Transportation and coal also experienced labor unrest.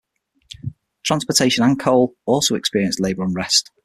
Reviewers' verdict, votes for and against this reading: accepted, 6, 0